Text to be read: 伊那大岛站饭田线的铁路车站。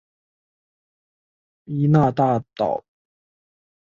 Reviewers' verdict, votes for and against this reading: rejected, 0, 2